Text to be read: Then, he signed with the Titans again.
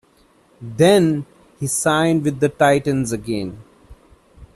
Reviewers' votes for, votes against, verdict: 2, 0, accepted